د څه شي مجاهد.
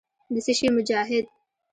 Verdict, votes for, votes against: accepted, 2, 0